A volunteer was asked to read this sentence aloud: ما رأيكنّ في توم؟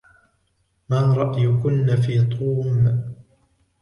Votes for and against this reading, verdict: 2, 0, accepted